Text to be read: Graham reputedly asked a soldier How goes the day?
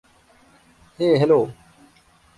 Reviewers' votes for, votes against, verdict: 0, 2, rejected